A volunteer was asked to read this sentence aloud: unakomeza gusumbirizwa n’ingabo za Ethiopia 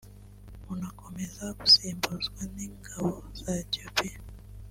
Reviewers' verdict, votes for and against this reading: accepted, 4, 1